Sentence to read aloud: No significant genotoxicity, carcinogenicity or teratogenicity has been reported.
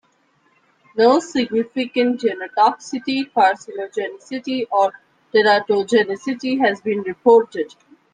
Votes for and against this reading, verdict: 2, 0, accepted